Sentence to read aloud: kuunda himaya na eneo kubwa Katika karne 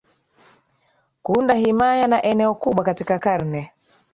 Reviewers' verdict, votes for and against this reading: accepted, 2, 1